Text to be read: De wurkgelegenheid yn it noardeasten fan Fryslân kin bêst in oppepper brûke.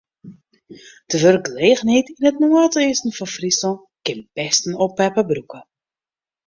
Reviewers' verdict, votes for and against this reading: rejected, 1, 2